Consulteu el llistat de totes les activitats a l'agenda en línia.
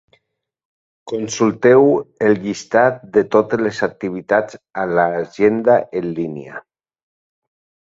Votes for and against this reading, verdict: 3, 0, accepted